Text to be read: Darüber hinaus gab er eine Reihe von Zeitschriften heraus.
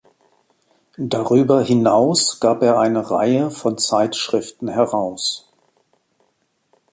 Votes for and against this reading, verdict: 2, 1, accepted